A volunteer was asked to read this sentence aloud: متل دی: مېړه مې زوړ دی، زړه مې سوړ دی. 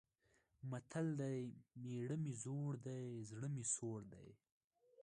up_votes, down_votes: 2, 1